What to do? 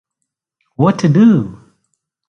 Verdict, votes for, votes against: accepted, 2, 0